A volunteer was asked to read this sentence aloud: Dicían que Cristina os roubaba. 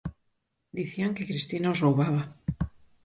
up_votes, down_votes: 6, 0